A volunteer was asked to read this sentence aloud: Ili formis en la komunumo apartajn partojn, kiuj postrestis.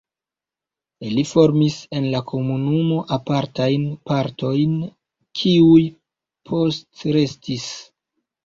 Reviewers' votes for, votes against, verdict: 1, 2, rejected